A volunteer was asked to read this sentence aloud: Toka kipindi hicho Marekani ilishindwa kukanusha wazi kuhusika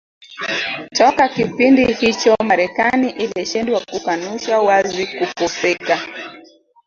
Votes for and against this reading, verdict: 0, 2, rejected